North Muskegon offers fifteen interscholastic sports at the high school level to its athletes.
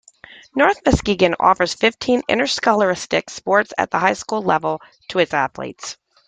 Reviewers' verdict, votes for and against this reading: accepted, 2, 1